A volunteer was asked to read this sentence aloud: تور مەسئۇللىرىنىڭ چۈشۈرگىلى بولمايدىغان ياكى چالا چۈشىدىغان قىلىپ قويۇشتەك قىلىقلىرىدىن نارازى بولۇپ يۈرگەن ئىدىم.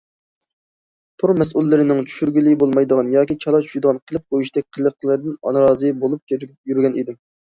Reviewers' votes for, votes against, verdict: 1, 2, rejected